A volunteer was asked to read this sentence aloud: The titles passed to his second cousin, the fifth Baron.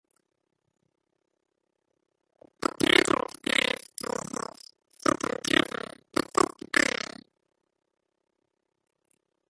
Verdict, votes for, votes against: rejected, 0, 2